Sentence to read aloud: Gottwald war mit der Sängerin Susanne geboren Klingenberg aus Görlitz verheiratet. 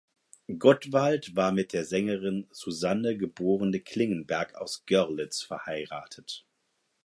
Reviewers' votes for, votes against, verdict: 2, 4, rejected